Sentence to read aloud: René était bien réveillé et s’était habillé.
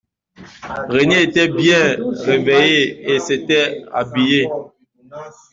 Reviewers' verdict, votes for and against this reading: accepted, 2, 0